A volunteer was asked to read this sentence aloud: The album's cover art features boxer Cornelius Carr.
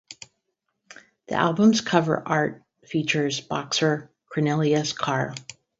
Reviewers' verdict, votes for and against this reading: accepted, 2, 0